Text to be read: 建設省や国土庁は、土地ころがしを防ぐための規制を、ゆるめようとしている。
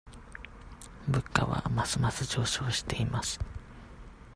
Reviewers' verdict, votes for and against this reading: rejected, 0, 2